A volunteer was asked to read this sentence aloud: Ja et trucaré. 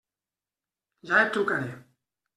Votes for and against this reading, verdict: 2, 0, accepted